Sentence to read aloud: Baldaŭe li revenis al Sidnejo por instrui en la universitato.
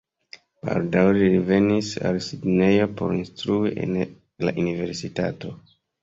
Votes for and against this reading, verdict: 1, 2, rejected